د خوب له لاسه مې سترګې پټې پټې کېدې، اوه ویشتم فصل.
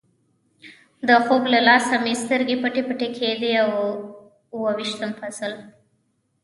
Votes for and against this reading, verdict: 3, 0, accepted